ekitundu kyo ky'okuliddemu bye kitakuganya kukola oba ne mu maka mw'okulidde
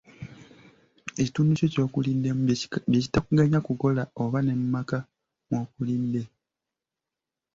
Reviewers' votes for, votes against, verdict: 1, 2, rejected